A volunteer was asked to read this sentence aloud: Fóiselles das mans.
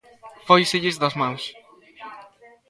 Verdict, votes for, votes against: rejected, 1, 2